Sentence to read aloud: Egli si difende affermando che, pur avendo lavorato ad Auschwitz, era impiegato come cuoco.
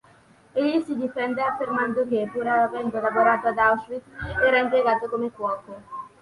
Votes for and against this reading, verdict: 2, 0, accepted